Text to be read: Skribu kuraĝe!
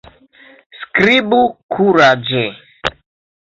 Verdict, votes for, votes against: accepted, 2, 1